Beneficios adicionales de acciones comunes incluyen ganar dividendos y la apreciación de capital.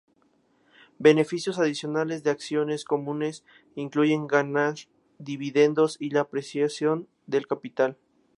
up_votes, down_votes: 0, 2